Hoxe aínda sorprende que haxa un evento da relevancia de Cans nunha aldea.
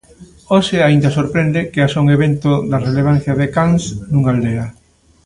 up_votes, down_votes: 2, 0